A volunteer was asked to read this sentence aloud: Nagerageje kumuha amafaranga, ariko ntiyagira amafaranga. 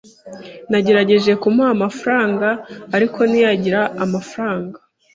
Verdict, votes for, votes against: accepted, 3, 0